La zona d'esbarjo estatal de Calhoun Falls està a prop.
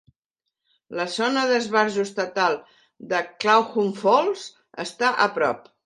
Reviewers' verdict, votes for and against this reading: rejected, 1, 2